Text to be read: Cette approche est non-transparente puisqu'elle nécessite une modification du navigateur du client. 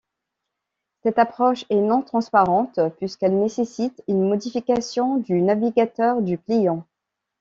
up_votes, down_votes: 2, 0